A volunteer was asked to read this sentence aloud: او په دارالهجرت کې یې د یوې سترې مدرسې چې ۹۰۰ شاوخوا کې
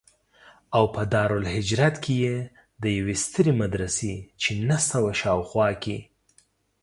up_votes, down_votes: 0, 2